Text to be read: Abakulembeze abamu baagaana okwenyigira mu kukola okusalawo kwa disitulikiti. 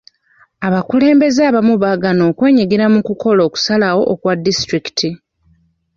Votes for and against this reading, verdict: 1, 2, rejected